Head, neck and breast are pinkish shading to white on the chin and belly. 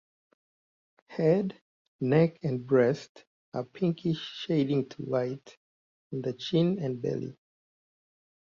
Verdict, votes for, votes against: accepted, 2, 1